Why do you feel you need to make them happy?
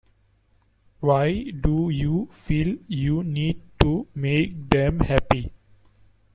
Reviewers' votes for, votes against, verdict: 1, 2, rejected